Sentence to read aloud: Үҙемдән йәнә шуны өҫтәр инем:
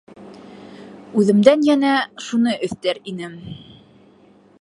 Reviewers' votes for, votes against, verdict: 2, 0, accepted